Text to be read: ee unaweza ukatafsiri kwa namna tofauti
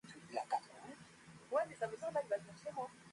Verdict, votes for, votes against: rejected, 0, 2